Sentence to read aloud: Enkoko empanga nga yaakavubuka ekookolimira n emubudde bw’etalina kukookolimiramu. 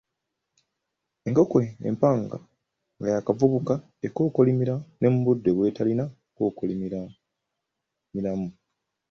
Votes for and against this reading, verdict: 2, 1, accepted